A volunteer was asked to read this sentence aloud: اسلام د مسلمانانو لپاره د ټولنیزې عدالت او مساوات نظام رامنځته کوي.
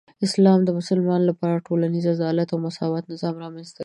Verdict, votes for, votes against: accepted, 2, 0